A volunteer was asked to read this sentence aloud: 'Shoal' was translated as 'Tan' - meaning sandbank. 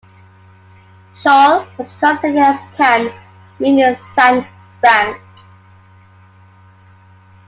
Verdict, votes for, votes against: accepted, 2, 1